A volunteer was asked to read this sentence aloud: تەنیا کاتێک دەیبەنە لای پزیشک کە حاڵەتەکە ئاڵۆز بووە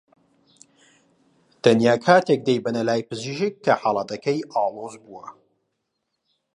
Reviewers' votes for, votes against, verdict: 0, 2, rejected